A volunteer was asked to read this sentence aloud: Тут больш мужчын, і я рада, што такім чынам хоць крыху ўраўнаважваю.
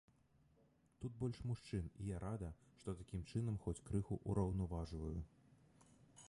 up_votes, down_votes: 1, 2